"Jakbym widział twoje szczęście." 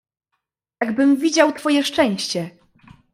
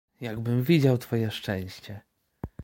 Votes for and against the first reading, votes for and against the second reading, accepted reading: 0, 2, 2, 0, second